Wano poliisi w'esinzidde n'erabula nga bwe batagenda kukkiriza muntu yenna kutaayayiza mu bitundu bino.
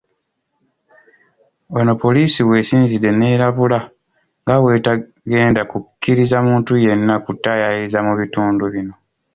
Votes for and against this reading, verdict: 1, 2, rejected